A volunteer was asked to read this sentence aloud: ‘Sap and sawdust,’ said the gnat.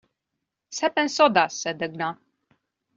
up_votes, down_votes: 1, 2